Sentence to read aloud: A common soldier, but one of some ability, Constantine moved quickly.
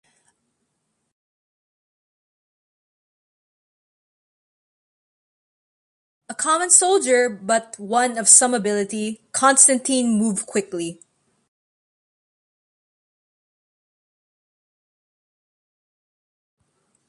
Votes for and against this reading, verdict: 2, 0, accepted